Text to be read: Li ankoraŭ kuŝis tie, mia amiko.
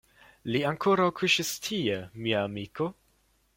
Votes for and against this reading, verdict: 2, 0, accepted